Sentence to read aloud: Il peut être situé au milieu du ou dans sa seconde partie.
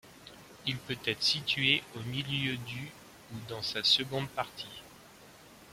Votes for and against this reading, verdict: 2, 0, accepted